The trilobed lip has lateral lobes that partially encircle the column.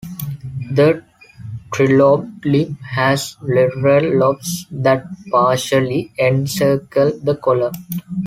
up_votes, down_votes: 1, 2